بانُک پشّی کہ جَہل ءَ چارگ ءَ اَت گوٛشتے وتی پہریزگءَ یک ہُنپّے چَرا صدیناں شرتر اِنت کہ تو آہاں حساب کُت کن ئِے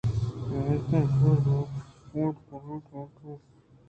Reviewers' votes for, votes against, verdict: 2, 0, accepted